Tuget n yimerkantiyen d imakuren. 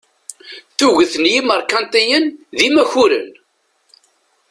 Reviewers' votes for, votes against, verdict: 1, 2, rejected